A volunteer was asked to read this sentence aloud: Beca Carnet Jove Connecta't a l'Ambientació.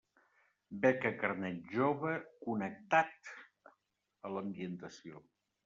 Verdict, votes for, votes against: rejected, 1, 2